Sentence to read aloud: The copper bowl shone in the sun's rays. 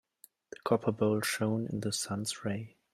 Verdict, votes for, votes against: rejected, 1, 2